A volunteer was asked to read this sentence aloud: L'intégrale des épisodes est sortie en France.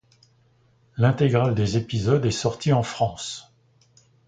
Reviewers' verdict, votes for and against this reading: accepted, 2, 0